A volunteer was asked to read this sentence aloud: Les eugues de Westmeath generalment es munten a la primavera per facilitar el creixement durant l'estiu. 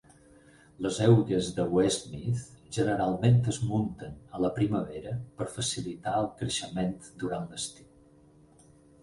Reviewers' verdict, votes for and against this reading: accepted, 4, 0